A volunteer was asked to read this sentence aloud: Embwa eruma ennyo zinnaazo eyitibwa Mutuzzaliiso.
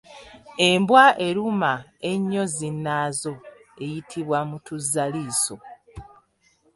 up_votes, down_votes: 1, 2